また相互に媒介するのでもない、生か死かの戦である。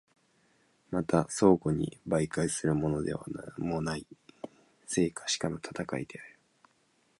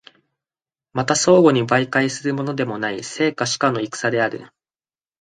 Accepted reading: first